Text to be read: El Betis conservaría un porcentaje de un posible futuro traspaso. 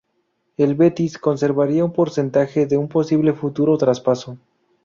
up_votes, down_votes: 2, 2